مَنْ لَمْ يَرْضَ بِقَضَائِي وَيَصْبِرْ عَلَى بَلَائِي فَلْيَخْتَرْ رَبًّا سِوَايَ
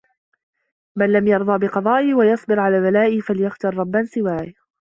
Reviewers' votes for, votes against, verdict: 2, 1, accepted